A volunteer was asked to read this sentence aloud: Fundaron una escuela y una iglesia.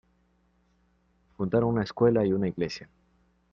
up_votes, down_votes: 1, 2